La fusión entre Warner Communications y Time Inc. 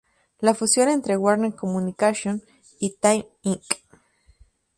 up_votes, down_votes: 4, 0